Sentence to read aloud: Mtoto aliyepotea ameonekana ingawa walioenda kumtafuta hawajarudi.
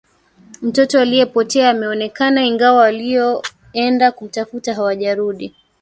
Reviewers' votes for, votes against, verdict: 2, 1, accepted